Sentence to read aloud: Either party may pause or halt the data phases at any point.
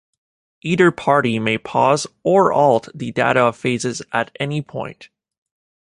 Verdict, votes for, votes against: rejected, 1, 2